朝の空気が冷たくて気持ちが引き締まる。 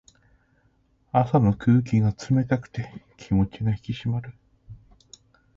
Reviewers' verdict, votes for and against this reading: rejected, 1, 2